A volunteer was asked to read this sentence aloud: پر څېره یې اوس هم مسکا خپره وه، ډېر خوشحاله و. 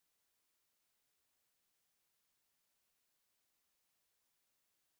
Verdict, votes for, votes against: rejected, 0, 2